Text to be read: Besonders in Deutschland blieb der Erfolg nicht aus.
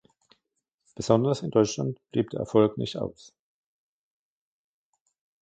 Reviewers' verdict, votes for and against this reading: accepted, 2, 1